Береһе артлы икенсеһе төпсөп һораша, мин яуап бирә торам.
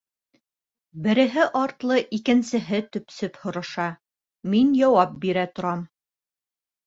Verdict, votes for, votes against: accepted, 2, 0